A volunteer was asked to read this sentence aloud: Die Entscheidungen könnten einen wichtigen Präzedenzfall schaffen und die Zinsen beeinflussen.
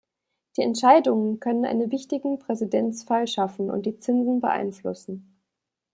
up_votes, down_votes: 0, 2